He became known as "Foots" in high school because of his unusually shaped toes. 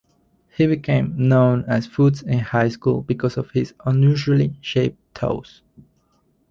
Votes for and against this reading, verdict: 2, 0, accepted